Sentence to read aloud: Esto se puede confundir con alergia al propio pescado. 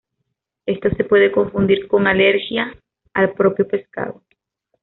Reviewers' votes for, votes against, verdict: 2, 0, accepted